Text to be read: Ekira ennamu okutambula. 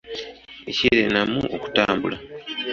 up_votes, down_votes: 2, 0